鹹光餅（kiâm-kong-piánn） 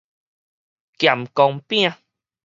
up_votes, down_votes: 4, 0